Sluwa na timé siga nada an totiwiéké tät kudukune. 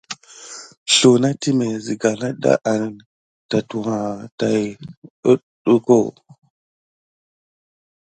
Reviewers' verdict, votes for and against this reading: accepted, 2, 0